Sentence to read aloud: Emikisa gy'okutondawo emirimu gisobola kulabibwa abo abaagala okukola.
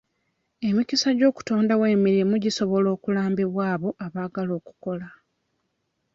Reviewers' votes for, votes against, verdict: 0, 2, rejected